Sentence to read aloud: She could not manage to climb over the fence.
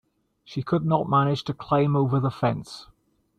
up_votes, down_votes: 2, 0